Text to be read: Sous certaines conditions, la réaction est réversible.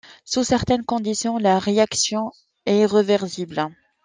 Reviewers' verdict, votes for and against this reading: rejected, 0, 2